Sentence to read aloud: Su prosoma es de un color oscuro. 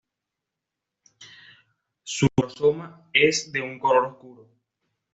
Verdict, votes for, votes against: rejected, 0, 2